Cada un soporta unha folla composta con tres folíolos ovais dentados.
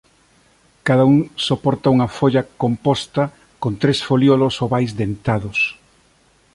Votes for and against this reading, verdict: 2, 0, accepted